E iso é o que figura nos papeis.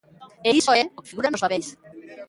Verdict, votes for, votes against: rejected, 0, 2